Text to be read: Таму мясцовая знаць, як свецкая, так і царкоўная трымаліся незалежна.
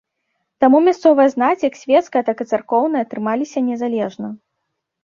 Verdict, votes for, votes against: accepted, 2, 0